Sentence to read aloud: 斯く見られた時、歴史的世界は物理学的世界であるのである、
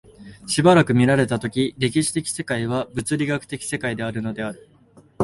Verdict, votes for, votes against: accepted, 2, 1